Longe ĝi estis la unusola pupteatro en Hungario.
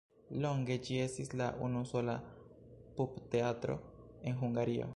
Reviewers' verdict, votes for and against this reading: accepted, 2, 0